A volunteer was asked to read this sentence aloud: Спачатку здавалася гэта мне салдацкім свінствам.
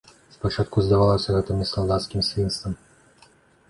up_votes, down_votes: 2, 0